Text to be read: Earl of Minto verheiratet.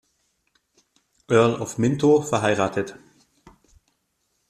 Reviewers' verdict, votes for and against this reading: accepted, 2, 0